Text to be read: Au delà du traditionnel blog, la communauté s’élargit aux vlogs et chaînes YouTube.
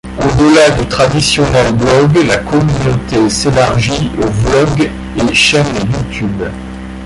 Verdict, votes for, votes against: rejected, 1, 2